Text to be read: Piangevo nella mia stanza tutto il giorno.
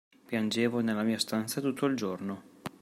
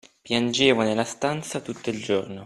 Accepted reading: first